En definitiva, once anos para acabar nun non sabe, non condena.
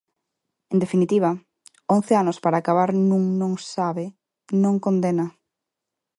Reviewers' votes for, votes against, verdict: 2, 0, accepted